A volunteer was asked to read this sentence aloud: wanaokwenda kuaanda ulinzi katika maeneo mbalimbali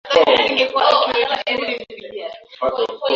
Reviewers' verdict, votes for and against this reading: rejected, 0, 2